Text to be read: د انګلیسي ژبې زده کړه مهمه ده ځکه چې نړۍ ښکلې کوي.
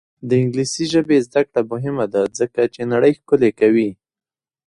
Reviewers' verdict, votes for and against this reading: rejected, 0, 2